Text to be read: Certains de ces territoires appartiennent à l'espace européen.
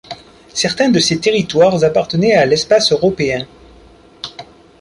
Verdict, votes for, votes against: rejected, 0, 2